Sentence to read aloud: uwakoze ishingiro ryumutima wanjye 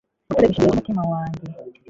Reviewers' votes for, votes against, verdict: 2, 3, rejected